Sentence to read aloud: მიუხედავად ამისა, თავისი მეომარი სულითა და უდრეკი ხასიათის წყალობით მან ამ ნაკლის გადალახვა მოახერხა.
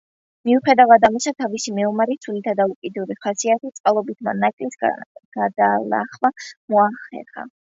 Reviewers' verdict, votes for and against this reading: accepted, 2, 1